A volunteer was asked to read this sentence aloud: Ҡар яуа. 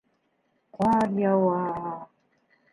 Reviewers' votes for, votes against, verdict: 0, 3, rejected